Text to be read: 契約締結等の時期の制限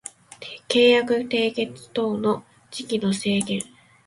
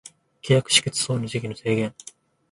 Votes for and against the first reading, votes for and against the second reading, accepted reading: 2, 0, 0, 2, first